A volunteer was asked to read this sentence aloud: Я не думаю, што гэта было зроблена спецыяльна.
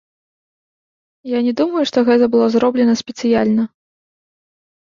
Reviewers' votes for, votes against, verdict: 2, 0, accepted